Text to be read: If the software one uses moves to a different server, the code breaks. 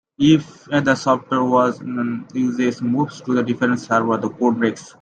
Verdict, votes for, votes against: rejected, 0, 2